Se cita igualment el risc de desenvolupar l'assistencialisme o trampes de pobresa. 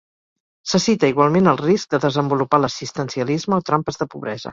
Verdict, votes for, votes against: accepted, 4, 0